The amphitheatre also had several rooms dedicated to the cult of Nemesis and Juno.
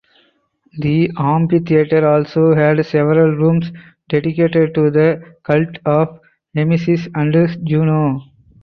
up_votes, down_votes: 2, 2